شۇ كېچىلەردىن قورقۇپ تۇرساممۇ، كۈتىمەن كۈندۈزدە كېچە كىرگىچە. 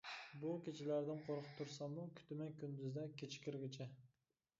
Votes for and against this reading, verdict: 0, 2, rejected